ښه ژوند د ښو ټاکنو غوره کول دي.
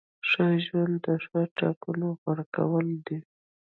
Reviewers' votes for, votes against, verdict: 0, 2, rejected